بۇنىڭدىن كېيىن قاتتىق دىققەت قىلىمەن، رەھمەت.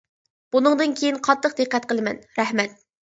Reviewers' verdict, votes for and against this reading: accepted, 2, 0